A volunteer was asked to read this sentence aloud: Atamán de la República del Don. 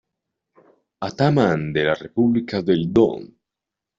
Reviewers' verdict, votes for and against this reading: accepted, 2, 0